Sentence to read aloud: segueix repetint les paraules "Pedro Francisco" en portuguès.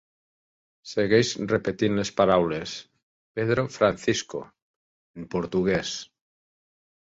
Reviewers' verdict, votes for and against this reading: accepted, 3, 1